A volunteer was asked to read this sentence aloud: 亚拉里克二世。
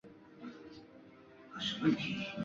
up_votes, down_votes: 0, 4